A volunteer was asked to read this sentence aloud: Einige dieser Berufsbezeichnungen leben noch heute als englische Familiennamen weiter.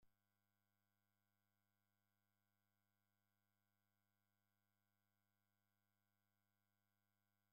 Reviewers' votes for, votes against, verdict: 0, 2, rejected